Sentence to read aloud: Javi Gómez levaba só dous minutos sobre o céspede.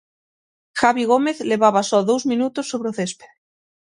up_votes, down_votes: 6, 0